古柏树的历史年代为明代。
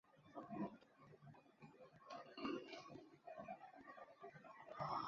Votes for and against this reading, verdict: 0, 3, rejected